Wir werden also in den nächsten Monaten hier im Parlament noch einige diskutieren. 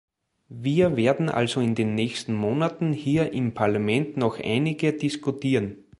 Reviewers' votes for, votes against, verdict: 2, 0, accepted